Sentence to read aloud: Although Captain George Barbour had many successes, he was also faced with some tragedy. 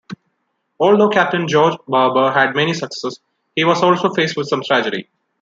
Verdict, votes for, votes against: accepted, 2, 0